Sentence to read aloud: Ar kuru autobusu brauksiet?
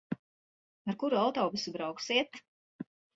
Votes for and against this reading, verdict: 2, 0, accepted